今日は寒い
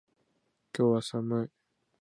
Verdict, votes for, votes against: accepted, 2, 0